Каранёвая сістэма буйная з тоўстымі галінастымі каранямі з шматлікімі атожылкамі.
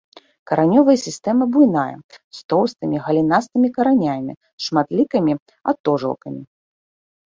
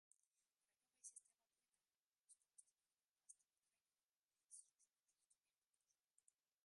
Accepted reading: first